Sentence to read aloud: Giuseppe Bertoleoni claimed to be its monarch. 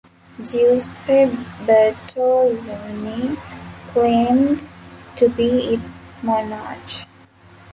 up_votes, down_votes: 0, 2